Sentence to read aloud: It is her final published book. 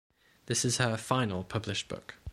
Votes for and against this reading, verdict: 1, 2, rejected